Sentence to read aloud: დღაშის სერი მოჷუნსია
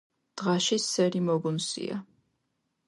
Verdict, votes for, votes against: rejected, 1, 2